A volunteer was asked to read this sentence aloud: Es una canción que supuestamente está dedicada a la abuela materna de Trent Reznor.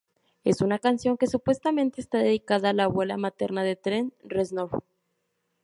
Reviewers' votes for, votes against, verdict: 2, 2, rejected